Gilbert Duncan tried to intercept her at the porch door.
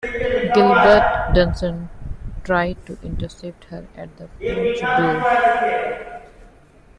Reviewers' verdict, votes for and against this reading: accepted, 2, 1